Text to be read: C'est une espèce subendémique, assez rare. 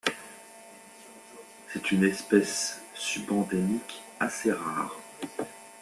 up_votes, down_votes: 2, 0